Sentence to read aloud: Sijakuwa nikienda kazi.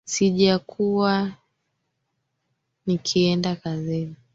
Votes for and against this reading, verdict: 1, 3, rejected